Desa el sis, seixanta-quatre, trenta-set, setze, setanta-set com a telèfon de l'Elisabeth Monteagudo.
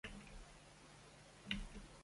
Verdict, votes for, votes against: rejected, 0, 2